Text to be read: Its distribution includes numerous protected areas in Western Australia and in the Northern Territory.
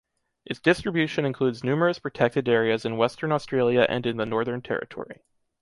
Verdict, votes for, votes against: accepted, 2, 0